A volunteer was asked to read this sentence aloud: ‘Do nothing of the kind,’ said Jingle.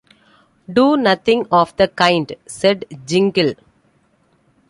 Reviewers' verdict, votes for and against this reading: accepted, 2, 0